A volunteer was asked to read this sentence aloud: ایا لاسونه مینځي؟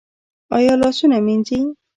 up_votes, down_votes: 1, 2